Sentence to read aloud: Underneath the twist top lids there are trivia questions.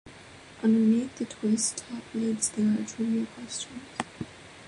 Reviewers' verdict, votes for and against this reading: rejected, 1, 2